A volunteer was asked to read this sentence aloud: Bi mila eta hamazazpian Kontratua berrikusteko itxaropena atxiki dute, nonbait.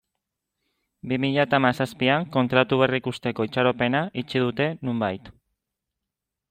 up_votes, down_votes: 0, 2